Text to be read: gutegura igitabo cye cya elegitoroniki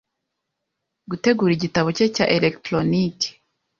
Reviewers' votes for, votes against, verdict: 2, 0, accepted